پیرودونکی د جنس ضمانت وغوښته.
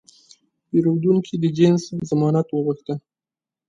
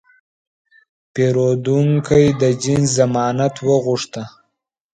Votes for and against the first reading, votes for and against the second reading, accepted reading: 1, 2, 2, 1, second